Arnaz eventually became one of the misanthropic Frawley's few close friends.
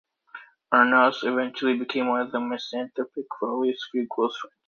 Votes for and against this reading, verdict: 1, 2, rejected